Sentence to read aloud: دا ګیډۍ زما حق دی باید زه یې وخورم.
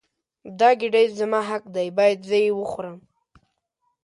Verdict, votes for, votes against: accepted, 2, 0